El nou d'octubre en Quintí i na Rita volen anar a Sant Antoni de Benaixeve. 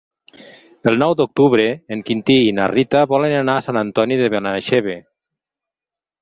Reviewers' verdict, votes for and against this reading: accepted, 6, 0